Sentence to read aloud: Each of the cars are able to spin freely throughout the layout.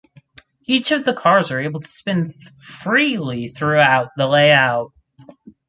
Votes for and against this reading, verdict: 2, 2, rejected